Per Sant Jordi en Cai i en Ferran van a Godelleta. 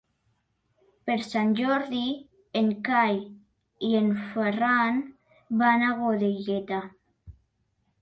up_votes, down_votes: 3, 1